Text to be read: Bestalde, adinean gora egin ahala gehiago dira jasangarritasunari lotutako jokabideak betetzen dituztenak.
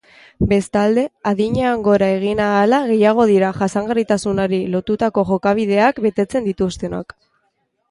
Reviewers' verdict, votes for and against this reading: rejected, 2, 3